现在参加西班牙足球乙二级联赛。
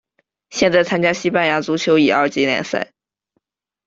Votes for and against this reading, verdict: 2, 0, accepted